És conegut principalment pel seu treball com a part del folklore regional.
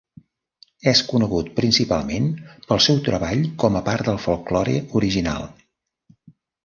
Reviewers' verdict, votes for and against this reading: rejected, 0, 2